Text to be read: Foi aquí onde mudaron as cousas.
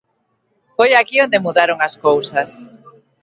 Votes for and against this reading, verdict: 2, 0, accepted